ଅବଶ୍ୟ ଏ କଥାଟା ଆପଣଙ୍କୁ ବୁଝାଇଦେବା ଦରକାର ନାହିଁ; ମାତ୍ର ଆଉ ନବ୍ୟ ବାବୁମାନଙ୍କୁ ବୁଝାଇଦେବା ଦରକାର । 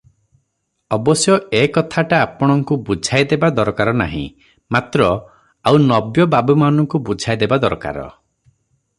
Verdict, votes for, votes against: accepted, 3, 0